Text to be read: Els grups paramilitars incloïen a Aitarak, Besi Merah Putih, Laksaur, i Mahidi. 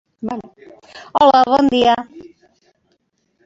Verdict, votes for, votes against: rejected, 1, 3